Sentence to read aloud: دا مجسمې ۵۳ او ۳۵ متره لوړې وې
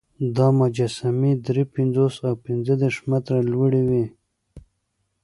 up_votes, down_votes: 0, 2